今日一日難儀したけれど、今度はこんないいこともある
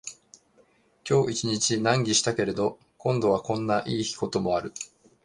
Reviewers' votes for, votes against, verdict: 0, 2, rejected